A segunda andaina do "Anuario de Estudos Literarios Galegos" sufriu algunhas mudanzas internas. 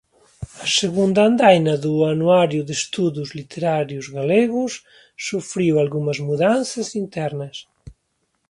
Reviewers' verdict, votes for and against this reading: accepted, 2, 0